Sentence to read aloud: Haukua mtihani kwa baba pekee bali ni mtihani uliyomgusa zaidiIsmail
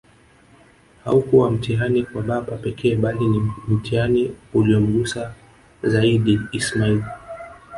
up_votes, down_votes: 0, 2